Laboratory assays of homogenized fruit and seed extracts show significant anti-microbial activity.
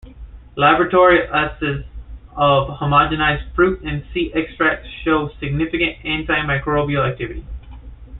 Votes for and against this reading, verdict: 1, 2, rejected